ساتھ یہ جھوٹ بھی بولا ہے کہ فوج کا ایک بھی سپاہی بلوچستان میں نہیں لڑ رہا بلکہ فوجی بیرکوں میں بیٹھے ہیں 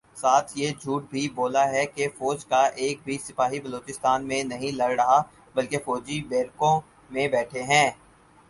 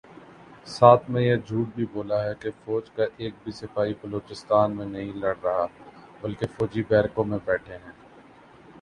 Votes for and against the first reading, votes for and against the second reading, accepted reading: 4, 0, 1, 2, first